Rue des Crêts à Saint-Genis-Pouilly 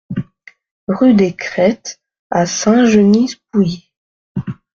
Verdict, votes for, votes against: rejected, 0, 2